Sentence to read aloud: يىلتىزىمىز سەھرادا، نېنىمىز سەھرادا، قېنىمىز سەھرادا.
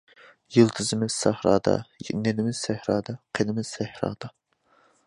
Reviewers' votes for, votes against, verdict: 2, 0, accepted